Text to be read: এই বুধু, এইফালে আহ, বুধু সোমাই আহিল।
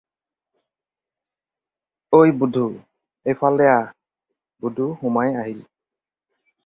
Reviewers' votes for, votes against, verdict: 2, 4, rejected